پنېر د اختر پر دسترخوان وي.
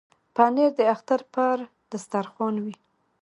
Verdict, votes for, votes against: accepted, 2, 1